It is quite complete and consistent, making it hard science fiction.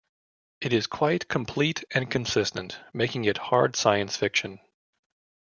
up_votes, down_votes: 2, 0